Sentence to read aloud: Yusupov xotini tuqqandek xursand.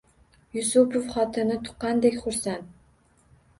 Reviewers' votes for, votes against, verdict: 2, 0, accepted